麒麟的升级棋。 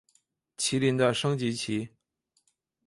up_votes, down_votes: 3, 1